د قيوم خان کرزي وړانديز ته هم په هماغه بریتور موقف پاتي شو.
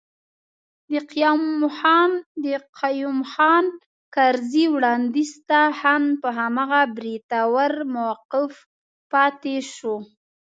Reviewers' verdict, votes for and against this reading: accepted, 2, 0